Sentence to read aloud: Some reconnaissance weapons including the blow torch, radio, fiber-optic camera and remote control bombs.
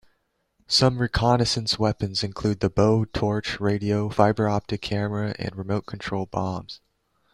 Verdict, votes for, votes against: rejected, 1, 2